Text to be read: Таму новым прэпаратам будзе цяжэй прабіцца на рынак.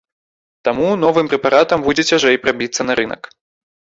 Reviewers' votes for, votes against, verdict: 2, 0, accepted